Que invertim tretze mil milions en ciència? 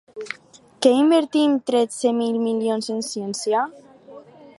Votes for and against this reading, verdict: 2, 2, rejected